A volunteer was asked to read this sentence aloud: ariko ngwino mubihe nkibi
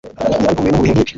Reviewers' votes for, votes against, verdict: 1, 2, rejected